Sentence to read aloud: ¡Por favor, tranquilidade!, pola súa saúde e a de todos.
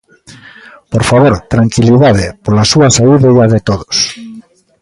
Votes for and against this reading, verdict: 3, 0, accepted